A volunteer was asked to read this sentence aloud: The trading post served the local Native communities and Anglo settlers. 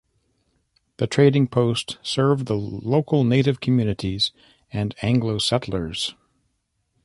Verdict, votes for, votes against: accepted, 2, 0